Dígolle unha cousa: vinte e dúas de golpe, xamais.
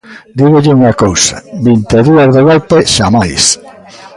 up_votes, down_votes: 2, 1